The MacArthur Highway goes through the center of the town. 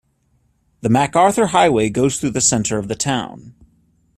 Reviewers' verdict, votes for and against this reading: accepted, 2, 0